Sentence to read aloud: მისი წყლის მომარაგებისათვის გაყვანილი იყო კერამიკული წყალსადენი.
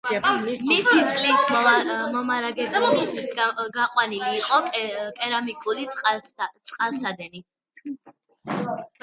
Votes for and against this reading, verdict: 1, 2, rejected